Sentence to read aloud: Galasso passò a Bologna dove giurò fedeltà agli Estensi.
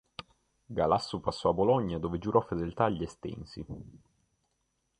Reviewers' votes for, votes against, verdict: 2, 0, accepted